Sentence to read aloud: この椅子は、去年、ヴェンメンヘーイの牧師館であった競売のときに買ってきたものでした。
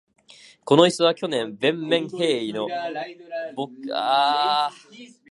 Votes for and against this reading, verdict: 0, 2, rejected